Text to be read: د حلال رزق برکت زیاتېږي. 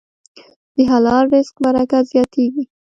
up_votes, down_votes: 1, 2